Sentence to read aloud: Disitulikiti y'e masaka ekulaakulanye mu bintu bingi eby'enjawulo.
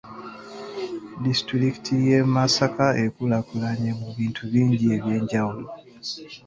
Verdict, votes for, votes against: accepted, 2, 0